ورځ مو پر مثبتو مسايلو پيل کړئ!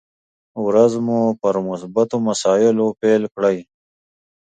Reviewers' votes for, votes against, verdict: 2, 0, accepted